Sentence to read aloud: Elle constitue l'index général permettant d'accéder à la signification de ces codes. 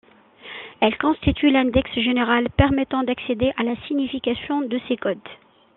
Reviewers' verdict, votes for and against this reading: accepted, 2, 1